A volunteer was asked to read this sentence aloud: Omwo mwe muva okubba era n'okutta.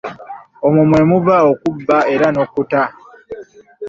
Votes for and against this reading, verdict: 0, 2, rejected